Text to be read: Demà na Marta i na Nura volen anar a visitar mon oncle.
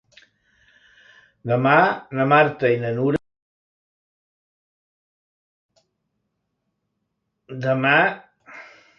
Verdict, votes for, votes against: rejected, 0, 2